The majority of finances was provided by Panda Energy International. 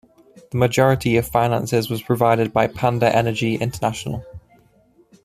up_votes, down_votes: 3, 0